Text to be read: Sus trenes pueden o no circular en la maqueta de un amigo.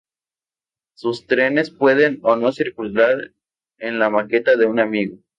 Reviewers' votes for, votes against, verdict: 2, 0, accepted